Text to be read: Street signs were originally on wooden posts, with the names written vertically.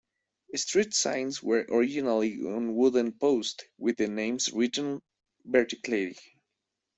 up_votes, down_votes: 1, 2